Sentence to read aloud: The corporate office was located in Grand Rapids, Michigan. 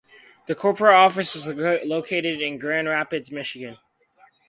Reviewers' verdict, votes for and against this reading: rejected, 0, 2